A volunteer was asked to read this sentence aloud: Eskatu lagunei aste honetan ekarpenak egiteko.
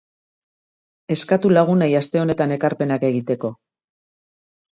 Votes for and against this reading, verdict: 2, 0, accepted